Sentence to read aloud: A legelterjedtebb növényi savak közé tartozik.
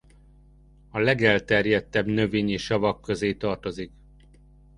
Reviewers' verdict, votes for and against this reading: accepted, 2, 0